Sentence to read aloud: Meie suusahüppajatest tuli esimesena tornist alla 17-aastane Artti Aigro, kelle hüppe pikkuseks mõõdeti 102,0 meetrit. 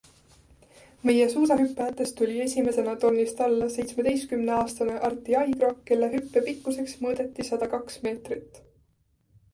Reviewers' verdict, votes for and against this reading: rejected, 0, 2